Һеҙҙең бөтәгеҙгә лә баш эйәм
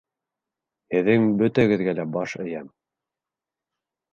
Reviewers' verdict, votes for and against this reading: accepted, 2, 0